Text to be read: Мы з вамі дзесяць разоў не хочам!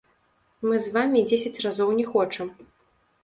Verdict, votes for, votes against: rejected, 1, 2